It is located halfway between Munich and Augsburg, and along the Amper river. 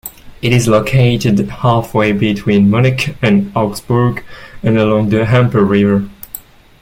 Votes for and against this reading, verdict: 2, 0, accepted